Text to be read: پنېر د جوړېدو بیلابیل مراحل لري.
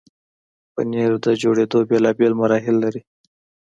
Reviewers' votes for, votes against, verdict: 2, 0, accepted